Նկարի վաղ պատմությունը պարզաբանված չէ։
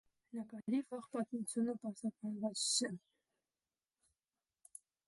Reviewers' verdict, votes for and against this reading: rejected, 1, 2